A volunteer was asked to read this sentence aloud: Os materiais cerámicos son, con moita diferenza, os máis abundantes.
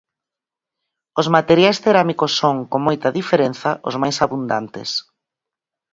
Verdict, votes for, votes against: accepted, 4, 0